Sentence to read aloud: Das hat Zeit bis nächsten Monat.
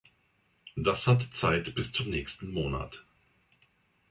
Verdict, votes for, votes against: rejected, 0, 2